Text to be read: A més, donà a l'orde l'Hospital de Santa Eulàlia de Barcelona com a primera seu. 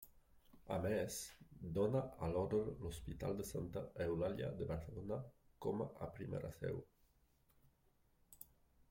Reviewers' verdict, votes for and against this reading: rejected, 0, 2